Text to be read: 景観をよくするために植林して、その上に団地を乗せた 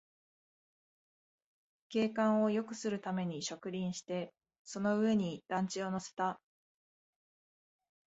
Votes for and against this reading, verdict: 3, 0, accepted